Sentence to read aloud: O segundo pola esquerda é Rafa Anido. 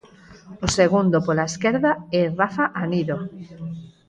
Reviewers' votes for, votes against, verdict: 4, 0, accepted